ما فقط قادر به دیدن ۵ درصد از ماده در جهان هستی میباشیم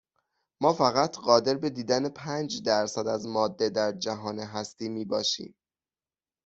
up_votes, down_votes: 0, 2